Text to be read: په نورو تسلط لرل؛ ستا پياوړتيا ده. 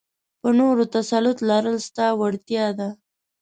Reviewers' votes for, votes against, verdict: 1, 2, rejected